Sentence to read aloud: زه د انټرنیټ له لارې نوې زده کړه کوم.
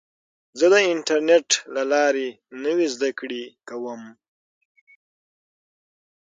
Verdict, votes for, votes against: accepted, 6, 0